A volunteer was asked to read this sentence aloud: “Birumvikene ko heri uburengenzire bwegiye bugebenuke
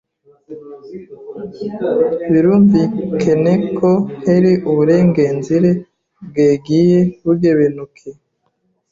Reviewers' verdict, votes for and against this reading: rejected, 0, 2